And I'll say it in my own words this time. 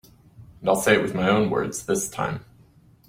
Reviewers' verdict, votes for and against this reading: rejected, 0, 2